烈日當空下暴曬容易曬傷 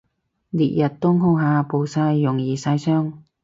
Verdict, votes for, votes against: rejected, 0, 2